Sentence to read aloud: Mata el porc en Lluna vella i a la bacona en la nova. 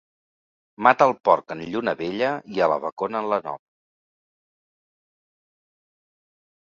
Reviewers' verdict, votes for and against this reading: rejected, 1, 2